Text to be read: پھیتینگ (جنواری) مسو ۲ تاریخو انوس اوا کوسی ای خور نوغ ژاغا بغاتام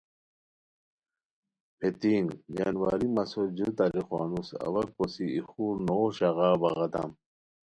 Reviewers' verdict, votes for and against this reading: rejected, 0, 2